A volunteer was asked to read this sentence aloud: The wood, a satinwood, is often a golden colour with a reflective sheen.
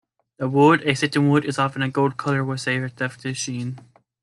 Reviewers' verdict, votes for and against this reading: rejected, 0, 2